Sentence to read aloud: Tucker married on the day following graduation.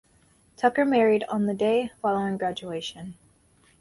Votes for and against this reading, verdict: 4, 0, accepted